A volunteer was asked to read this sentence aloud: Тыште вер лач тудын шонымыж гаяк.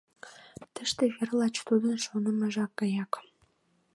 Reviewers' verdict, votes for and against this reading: rejected, 1, 3